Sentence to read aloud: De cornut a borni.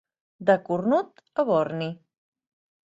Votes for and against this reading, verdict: 3, 0, accepted